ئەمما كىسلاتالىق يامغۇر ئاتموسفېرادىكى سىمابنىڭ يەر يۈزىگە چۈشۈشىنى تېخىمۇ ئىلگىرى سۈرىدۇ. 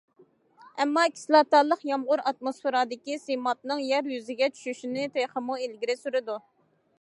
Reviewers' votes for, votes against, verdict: 2, 0, accepted